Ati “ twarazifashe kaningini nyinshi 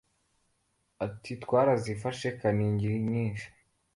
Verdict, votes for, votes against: accepted, 2, 0